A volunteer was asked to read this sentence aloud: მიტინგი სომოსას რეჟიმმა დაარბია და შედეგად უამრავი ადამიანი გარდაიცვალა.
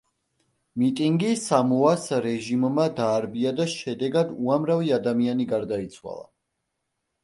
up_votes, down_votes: 0, 2